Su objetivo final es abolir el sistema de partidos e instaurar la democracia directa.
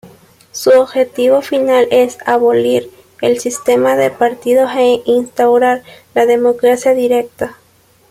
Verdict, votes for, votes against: rejected, 0, 2